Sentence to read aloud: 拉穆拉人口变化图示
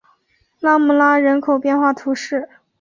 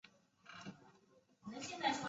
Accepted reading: first